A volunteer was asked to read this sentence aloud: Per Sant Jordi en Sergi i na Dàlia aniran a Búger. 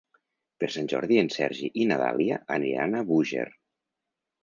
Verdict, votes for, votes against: accepted, 2, 0